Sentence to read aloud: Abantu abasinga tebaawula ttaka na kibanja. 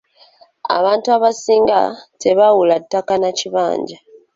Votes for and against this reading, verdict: 2, 0, accepted